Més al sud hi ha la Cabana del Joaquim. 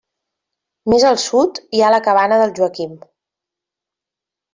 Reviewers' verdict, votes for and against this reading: accepted, 3, 0